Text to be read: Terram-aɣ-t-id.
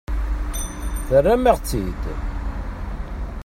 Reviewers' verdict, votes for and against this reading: rejected, 1, 2